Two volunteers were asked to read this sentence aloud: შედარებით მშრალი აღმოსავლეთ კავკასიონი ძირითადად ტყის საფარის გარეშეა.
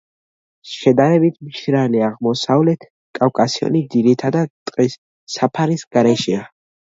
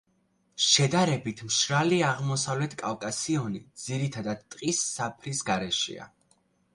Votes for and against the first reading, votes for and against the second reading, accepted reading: 2, 1, 0, 2, first